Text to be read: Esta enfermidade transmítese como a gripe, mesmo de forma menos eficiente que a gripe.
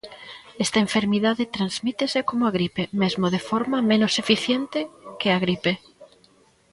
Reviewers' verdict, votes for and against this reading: accepted, 2, 0